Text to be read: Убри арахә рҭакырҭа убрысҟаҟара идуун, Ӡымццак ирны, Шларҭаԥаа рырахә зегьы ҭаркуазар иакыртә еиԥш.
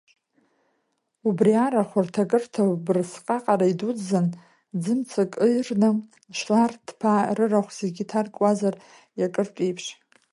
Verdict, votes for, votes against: rejected, 1, 2